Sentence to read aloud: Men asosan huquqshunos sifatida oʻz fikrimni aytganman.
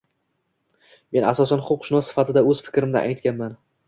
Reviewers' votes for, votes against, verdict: 2, 1, accepted